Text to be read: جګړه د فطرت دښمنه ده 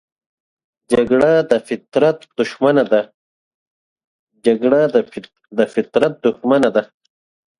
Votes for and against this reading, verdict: 4, 8, rejected